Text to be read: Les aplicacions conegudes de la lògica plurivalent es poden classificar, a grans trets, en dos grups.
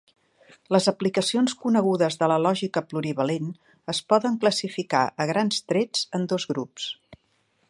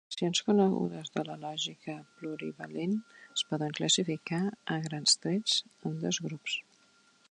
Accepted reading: first